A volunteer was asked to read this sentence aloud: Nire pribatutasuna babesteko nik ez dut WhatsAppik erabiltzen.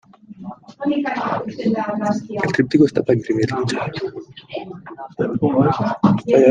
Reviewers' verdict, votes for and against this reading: rejected, 0, 2